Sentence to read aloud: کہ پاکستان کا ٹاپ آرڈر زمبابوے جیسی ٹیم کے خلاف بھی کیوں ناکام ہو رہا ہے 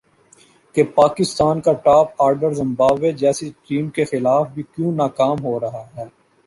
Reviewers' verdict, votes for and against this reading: accepted, 2, 1